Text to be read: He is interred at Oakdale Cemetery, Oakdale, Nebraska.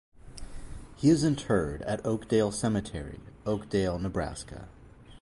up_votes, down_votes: 2, 0